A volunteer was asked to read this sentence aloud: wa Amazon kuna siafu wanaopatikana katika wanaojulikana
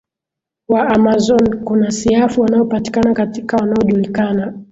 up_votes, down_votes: 25, 0